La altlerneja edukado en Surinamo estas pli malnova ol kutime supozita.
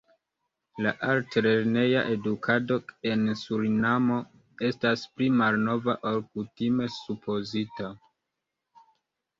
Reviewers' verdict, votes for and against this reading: accepted, 3, 0